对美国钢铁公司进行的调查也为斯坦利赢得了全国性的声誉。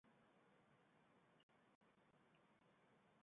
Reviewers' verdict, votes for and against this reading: rejected, 0, 2